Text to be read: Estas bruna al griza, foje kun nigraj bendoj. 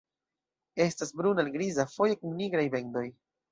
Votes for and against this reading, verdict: 3, 0, accepted